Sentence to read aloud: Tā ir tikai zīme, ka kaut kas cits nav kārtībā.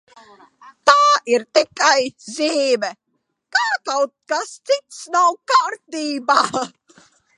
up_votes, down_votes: 1, 2